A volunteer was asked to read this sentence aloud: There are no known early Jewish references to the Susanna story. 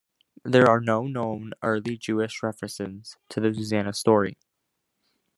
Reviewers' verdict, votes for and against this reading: accepted, 2, 0